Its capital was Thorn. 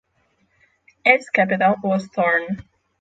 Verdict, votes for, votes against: rejected, 3, 3